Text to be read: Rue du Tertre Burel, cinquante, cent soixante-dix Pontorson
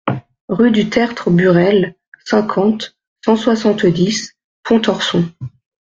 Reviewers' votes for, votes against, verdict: 2, 0, accepted